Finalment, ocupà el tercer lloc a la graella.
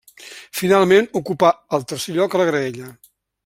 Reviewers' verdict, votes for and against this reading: accepted, 2, 0